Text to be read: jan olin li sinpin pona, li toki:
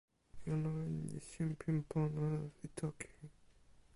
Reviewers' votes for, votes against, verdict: 1, 2, rejected